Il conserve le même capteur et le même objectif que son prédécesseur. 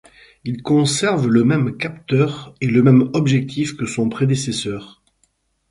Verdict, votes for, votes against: accepted, 4, 0